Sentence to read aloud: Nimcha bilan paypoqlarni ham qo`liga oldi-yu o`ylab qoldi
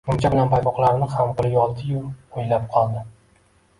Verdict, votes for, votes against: rejected, 0, 2